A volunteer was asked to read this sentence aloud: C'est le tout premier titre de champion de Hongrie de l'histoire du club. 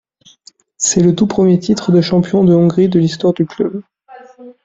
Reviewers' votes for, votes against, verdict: 2, 0, accepted